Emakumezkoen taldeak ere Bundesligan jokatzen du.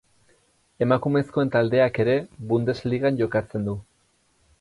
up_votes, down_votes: 2, 0